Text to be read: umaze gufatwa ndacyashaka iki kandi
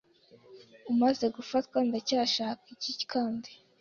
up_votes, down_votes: 2, 0